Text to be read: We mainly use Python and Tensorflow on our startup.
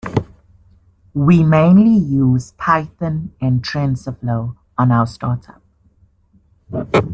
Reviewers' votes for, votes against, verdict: 2, 1, accepted